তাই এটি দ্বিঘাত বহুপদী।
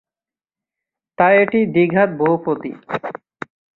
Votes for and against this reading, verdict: 3, 0, accepted